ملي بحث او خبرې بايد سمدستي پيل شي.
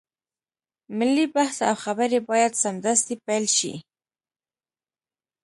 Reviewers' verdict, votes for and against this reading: accepted, 2, 0